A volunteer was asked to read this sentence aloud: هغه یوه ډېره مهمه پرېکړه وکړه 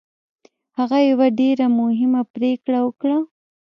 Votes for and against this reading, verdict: 0, 2, rejected